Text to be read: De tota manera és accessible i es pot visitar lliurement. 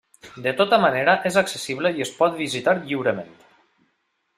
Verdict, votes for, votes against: accepted, 3, 0